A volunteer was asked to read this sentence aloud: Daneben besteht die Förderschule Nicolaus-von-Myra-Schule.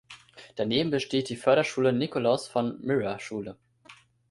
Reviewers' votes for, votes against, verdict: 0, 2, rejected